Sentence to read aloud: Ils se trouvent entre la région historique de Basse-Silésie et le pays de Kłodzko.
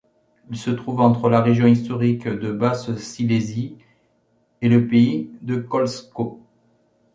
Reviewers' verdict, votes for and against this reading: accepted, 2, 0